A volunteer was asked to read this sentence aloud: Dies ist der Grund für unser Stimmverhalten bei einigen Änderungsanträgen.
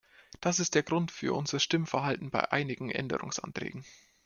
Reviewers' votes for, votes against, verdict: 1, 2, rejected